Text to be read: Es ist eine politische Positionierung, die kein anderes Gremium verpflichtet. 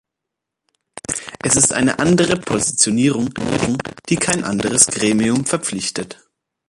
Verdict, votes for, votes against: rejected, 0, 2